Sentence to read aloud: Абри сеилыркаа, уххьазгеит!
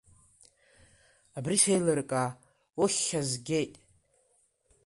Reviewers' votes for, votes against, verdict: 2, 1, accepted